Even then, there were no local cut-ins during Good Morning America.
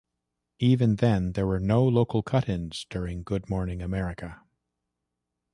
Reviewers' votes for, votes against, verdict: 2, 0, accepted